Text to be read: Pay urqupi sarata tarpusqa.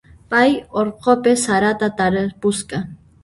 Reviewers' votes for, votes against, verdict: 0, 2, rejected